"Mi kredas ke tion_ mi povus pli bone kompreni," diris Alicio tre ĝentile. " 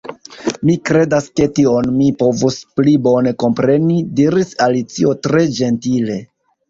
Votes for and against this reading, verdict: 1, 2, rejected